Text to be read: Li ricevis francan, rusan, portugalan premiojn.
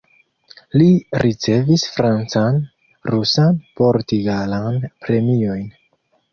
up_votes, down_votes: 0, 2